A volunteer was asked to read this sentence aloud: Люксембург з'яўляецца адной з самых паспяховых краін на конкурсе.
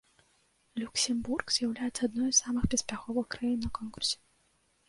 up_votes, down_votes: 1, 2